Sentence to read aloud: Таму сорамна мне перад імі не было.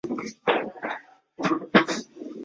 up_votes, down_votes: 0, 2